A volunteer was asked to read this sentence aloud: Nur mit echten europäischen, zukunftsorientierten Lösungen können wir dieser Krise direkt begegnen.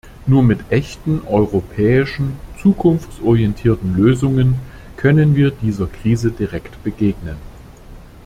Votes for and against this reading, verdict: 2, 0, accepted